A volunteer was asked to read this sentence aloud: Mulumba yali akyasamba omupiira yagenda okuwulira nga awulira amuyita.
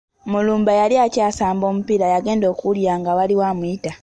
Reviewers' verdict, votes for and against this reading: accepted, 2, 0